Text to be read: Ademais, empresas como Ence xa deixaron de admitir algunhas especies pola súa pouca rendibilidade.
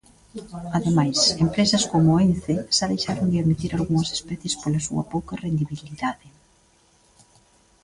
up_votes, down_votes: 1, 2